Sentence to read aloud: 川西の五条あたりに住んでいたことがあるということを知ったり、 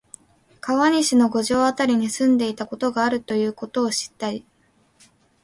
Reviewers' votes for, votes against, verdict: 3, 0, accepted